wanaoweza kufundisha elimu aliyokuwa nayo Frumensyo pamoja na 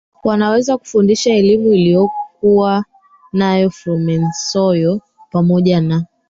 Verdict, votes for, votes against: rejected, 0, 3